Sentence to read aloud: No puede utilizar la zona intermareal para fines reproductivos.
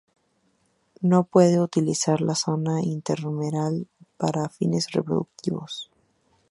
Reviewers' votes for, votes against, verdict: 2, 2, rejected